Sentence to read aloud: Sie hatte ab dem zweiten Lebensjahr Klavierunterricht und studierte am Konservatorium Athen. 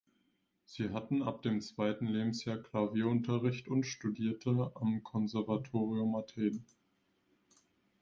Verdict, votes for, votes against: rejected, 0, 2